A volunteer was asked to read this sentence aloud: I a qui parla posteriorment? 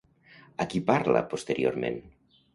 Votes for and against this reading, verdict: 1, 2, rejected